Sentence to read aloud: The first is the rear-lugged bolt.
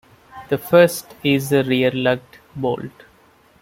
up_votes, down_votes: 0, 2